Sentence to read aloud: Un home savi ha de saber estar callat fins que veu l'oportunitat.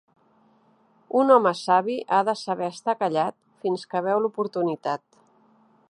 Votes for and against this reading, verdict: 3, 0, accepted